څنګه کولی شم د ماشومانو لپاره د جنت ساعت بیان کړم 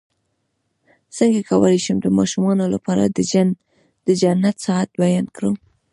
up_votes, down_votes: 2, 0